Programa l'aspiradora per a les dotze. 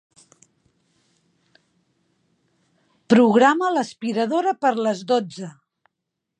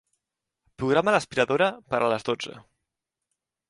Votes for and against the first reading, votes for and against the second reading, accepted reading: 1, 2, 3, 0, second